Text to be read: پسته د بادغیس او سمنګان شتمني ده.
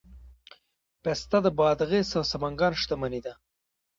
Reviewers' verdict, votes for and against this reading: rejected, 1, 2